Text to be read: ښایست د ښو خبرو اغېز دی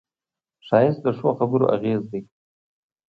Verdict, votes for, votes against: accepted, 2, 0